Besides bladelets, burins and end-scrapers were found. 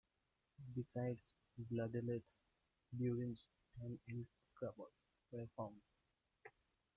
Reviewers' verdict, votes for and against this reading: rejected, 0, 2